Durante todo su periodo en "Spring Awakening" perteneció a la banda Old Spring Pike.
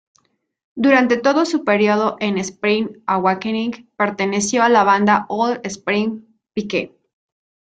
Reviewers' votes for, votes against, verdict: 0, 2, rejected